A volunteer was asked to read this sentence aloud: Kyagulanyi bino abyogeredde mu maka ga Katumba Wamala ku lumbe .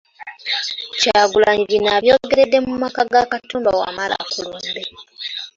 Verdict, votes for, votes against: accepted, 2, 0